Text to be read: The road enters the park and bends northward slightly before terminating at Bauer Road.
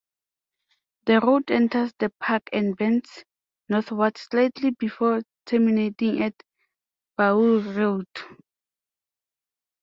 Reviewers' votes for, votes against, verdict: 2, 0, accepted